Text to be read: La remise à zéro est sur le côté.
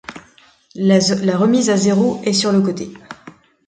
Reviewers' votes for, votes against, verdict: 1, 2, rejected